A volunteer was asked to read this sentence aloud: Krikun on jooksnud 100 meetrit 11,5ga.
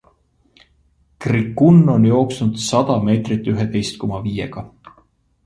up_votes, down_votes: 0, 2